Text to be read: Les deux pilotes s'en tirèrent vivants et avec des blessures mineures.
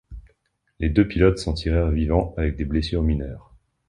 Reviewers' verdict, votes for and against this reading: rejected, 0, 2